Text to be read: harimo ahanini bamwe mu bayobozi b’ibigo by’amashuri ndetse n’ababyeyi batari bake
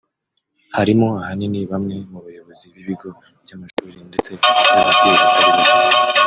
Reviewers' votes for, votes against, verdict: 0, 2, rejected